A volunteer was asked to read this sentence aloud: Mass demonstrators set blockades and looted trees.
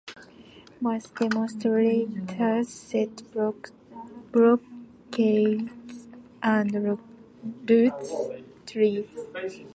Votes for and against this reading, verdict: 0, 2, rejected